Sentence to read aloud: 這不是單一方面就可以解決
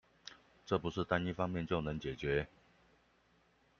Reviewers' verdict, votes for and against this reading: rejected, 0, 2